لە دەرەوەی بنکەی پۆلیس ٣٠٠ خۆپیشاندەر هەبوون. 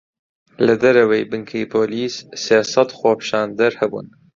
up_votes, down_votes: 0, 2